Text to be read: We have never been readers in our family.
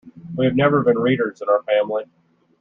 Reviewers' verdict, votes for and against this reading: accepted, 2, 0